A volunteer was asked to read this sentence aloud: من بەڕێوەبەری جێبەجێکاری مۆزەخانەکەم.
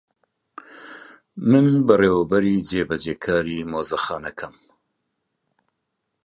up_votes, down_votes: 2, 0